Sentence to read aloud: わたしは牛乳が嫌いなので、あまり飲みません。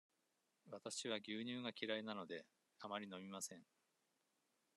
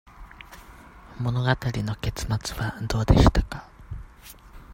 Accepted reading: first